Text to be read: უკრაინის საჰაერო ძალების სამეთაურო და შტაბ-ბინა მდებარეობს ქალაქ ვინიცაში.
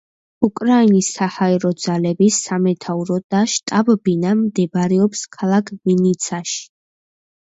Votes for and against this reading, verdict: 2, 0, accepted